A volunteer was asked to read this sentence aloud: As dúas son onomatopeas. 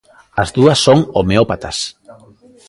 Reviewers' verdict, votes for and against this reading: rejected, 0, 2